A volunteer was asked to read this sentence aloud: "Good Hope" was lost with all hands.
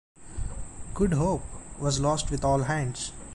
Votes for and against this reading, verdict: 2, 0, accepted